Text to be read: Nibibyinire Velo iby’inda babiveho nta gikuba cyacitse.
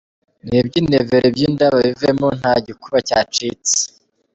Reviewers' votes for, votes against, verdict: 2, 1, accepted